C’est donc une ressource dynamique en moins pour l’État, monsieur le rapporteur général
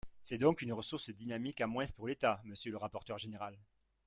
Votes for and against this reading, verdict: 1, 2, rejected